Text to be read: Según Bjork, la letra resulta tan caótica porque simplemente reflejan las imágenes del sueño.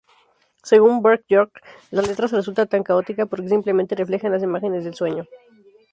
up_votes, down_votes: 2, 0